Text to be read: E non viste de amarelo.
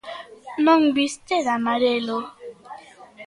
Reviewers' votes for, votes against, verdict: 1, 2, rejected